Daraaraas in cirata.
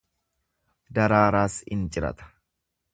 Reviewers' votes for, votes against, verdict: 2, 0, accepted